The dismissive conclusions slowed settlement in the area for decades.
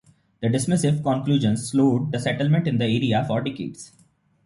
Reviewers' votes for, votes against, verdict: 2, 0, accepted